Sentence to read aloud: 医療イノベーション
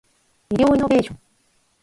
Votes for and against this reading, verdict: 4, 0, accepted